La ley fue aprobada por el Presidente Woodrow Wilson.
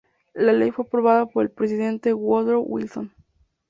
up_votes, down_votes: 2, 4